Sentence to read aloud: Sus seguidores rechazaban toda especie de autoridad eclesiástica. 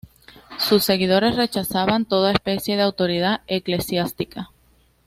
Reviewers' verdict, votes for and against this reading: accepted, 2, 0